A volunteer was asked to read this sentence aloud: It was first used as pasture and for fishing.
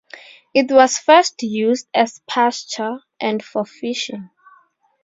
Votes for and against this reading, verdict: 2, 0, accepted